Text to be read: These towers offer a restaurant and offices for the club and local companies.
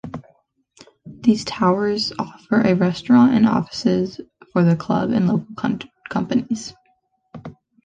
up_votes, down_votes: 1, 2